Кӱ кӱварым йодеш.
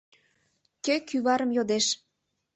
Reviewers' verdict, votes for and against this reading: rejected, 1, 2